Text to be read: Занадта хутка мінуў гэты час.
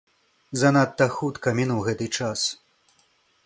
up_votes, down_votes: 2, 0